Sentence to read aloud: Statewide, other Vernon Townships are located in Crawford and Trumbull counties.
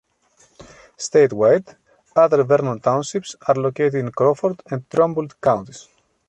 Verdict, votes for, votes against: accepted, 2, 0